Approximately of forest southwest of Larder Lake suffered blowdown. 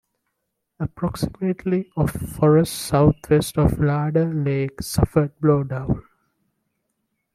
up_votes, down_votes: 2, 0